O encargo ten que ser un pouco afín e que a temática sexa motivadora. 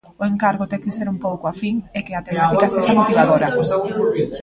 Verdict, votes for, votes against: rejected, 1, 2